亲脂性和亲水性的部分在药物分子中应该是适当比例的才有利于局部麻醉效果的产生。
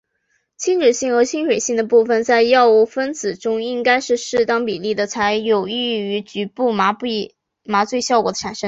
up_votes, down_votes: 2, 0